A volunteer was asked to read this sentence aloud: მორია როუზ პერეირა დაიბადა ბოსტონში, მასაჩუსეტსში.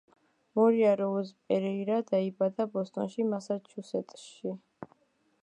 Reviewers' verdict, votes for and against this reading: rejected, 1, 2